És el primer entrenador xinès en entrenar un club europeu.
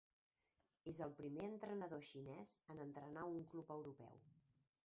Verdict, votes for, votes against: rejected, 1, 3